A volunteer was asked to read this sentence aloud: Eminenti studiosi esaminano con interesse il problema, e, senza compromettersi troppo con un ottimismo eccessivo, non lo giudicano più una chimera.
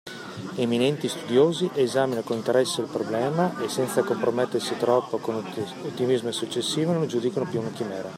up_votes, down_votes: 2, 0